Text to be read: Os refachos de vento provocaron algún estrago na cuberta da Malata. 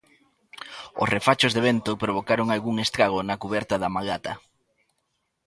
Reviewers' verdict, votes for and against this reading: accepted, 2, 0